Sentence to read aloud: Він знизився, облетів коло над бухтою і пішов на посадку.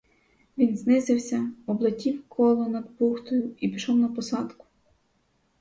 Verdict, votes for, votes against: rejected, 2, 2